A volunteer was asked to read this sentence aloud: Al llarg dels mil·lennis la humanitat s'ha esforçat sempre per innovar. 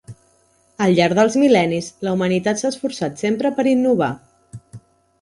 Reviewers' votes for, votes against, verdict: 3, 0, accepted